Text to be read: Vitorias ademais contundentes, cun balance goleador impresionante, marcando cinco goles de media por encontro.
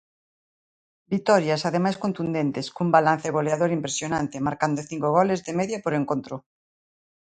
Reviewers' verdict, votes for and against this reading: accepted, 2, 0